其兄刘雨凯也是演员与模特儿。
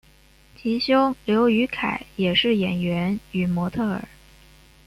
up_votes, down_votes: 1, 2